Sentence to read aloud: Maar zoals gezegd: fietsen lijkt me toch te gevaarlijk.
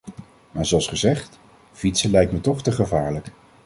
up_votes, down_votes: 2, 0